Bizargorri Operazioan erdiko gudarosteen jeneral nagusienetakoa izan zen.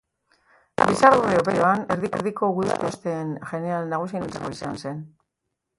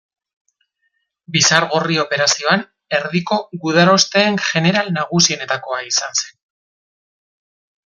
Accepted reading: second